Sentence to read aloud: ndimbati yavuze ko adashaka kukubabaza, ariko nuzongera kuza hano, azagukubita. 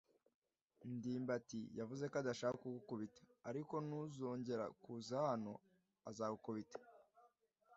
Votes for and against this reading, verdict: 2, 0, accepted